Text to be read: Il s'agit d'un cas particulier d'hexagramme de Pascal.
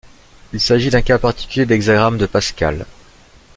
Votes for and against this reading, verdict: 2, 0, accepted